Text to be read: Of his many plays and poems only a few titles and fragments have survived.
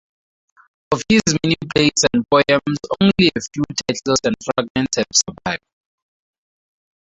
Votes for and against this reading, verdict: 2, 0, accepted